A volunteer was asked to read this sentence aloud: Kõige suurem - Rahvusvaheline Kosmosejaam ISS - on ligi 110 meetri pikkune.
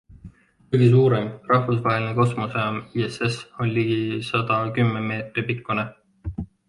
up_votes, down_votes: 0, 2